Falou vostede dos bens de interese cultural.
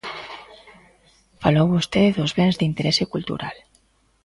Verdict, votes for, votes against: accepted, 2, 0